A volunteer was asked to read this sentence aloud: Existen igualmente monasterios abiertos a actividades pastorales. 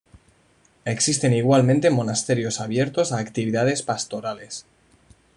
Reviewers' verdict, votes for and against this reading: accepted, 2, 0